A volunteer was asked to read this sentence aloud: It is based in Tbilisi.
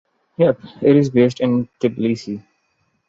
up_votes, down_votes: 1, 3